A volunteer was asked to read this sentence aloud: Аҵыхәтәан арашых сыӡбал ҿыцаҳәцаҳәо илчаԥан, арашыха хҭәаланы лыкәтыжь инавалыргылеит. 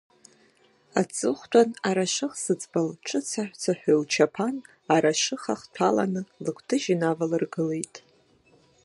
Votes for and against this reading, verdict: 1, 2, rejected